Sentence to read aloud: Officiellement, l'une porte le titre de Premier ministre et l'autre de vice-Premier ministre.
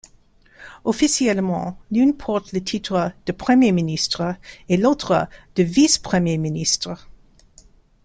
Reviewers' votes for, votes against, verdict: 2, 0, accepted